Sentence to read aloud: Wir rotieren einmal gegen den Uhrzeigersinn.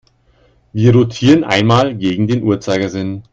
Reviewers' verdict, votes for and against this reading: accepted, 2, 0